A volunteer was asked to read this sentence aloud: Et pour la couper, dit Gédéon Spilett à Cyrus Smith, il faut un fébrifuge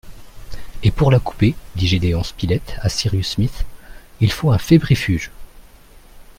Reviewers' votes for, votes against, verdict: 2, 0, accepted